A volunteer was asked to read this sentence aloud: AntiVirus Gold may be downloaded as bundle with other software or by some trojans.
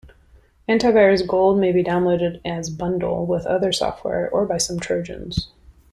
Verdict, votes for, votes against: accepted, 2, 0